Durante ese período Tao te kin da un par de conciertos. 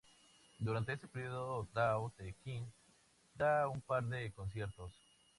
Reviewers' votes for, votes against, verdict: 2, 0, accepted